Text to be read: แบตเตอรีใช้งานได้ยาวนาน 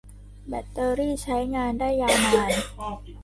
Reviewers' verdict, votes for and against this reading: rejected, 0, 2